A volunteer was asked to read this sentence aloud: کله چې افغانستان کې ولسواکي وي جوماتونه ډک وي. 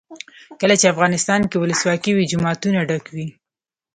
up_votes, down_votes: 2, 0